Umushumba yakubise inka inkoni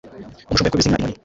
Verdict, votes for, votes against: rejected, 1, 2